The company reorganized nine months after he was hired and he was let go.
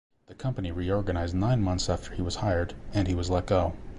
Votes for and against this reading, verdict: 2, 0, accepted